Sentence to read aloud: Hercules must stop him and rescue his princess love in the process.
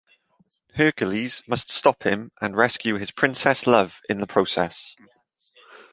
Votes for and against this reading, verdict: 2, 0, accepted